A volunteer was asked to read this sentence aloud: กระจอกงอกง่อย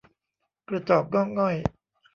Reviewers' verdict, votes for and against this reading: accepted, 2, 0